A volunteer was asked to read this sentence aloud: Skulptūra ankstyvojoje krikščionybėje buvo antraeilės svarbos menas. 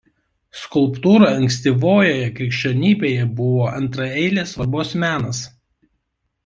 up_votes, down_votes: 2, 0